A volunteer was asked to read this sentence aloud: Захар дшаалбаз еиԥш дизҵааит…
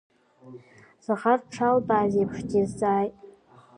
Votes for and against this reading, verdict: 3, 0, accepted